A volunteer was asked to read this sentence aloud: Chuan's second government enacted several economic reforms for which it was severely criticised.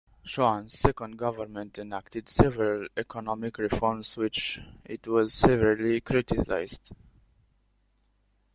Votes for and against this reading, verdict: 0, 2, rejected